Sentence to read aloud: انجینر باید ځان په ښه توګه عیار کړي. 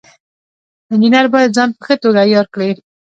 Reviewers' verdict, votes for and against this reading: accepted, 2, 0